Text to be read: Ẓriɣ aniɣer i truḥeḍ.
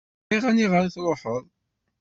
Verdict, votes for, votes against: rejected, 1, 2